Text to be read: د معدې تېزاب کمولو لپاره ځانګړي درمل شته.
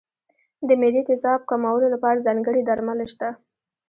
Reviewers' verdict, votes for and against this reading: rejected, 1, 2